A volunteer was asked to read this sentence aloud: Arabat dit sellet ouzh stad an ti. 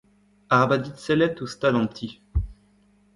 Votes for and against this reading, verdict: 1, 2, rejected